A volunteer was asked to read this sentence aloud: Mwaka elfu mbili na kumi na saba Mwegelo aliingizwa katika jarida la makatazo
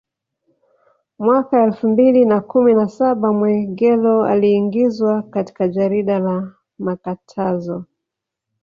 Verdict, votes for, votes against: rejected, 0, 2